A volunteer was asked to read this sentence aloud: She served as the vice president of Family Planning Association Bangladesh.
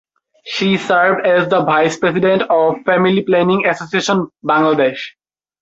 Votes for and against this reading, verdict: 1, 2, rejected